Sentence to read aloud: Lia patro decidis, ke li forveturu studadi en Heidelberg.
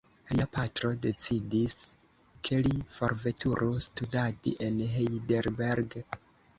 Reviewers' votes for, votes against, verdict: 2, 1, accepted